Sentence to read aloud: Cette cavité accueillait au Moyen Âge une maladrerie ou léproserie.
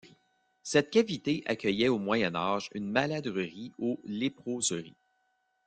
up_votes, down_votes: 2, 0